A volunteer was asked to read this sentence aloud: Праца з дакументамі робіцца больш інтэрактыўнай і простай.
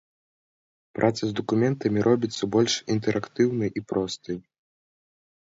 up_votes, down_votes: 2, 0